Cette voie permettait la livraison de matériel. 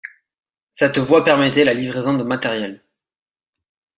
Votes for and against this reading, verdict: 2, 0, accepted